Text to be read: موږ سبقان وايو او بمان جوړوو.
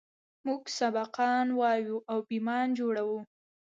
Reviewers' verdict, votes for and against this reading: rejected, 1, 2